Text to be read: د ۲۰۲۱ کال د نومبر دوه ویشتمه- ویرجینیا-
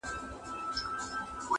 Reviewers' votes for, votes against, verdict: 0, 2, rejected